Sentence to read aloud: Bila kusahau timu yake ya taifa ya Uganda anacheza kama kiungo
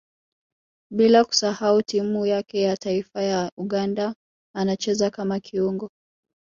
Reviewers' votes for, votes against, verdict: 1, 2, rejected